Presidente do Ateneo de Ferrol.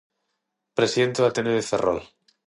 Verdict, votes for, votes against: accepted, 6, 0